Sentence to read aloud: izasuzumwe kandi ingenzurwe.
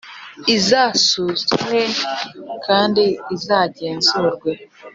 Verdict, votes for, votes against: rejected, 1, 2